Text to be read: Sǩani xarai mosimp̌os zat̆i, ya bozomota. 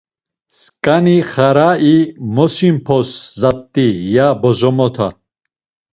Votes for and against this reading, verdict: 2, 0, accepted